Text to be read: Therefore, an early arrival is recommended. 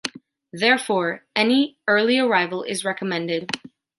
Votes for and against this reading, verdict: 1, 2, rejected